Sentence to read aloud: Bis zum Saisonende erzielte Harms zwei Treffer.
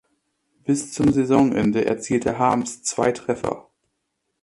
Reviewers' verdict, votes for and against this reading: accepted, 2, 1